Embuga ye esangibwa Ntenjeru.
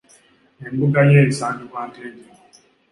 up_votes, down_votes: 3, 0